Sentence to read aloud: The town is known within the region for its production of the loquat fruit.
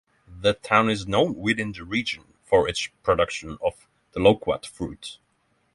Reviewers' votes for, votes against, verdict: 3, 3, rejected